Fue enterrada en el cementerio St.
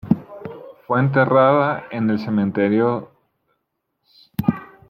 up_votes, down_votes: 0, 2